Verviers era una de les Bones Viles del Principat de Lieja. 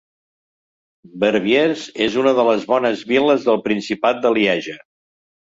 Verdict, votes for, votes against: rejected, 1, 2